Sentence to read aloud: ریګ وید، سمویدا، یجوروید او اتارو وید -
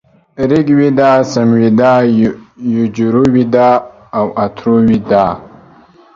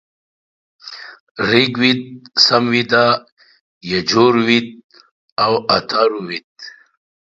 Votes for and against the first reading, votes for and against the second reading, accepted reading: 1, 2, 2, 1, second